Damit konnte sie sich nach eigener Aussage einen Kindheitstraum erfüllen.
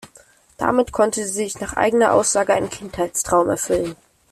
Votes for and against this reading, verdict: 1, 2, rejected